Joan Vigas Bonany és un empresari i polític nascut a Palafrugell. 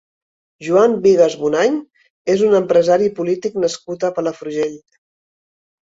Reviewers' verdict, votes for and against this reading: accepted, 3, 0